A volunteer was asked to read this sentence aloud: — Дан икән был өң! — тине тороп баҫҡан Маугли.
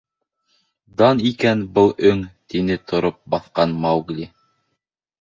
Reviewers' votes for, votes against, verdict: 1, 2, rejected